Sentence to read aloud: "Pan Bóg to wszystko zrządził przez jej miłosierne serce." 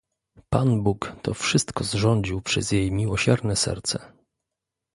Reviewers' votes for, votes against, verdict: 2, 0, accepted